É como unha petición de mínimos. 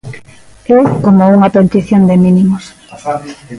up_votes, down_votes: 1, 2